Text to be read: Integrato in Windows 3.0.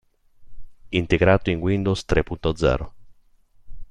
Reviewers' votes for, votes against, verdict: 0, 2, rejected